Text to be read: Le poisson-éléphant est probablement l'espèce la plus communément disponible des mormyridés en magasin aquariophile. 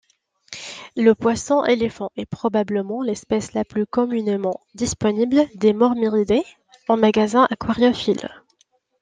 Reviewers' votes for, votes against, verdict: 2, 0, accepted